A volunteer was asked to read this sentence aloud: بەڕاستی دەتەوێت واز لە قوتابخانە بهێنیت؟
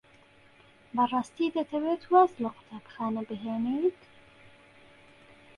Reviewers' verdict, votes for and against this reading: accepted, 2, 0